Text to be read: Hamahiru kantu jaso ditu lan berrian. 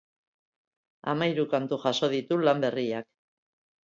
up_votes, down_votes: 0, 3